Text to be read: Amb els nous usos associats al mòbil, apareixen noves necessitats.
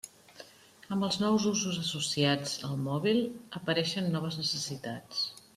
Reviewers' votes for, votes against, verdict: 3, 0, accepted